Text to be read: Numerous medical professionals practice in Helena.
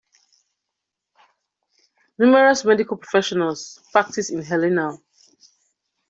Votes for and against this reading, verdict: 2, 0, accepted